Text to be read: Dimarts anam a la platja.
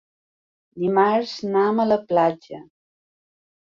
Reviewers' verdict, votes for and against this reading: accepted, 2, 1